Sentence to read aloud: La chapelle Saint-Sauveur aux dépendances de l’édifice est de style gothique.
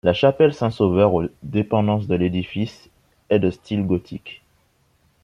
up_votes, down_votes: 0, 2